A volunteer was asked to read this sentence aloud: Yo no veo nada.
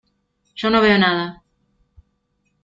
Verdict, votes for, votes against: accepted, 2, 0